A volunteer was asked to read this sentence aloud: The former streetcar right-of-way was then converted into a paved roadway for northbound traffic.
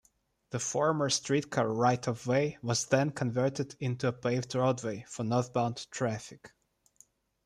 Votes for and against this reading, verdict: 2, 0, accepted